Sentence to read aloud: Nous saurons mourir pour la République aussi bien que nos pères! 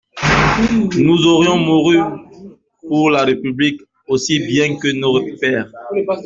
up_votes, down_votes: 0, 2